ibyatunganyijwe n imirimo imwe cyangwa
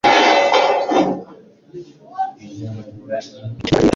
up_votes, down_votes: 1, 2